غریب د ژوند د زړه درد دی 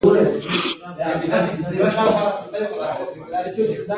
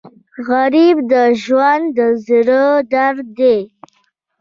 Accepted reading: first